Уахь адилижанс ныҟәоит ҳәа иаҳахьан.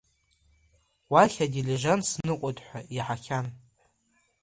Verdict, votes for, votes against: accepted, 2, 0